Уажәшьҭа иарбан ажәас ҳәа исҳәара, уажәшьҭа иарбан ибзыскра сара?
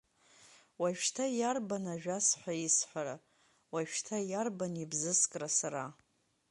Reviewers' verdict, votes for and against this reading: accepted, 2, 0